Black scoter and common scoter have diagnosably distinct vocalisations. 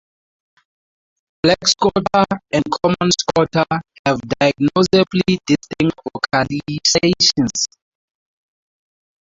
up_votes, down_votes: 0, 4